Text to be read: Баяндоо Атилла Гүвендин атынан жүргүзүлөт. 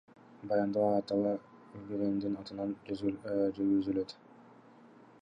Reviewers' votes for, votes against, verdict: 1, 2, rejected